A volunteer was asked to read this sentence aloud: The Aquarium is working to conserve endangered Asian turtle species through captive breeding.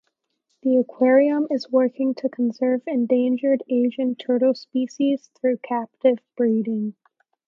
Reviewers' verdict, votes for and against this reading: rejected, 0, 2